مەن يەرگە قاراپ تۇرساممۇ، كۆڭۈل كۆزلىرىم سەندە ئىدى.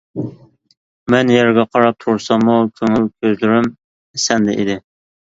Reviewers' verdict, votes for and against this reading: accepted, 2, 0